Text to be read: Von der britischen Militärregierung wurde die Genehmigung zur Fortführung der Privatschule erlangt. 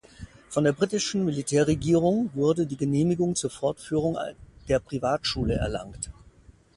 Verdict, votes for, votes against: rejected, 1, 2